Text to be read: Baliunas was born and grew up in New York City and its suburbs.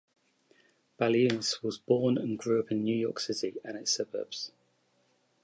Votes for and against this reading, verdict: 2, 0, accepted